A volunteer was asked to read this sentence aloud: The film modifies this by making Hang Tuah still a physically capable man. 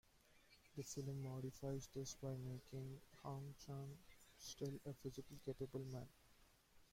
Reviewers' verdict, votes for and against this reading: rejected, 0, 2